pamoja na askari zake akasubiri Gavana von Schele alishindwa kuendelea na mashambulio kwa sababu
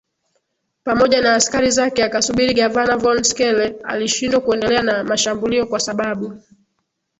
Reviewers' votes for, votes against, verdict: 2, 0, accepted